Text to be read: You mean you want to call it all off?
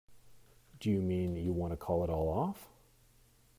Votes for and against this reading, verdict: 0, 2, rejected